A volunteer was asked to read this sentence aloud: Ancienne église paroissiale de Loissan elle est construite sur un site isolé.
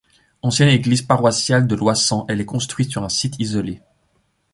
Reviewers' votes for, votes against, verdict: 2, 0, accepted